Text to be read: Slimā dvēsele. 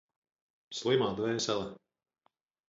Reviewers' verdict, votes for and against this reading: accepted, 4, 0